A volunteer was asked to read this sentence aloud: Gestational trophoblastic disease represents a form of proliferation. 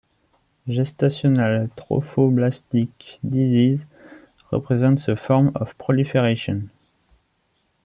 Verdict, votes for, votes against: accepted, 3, 2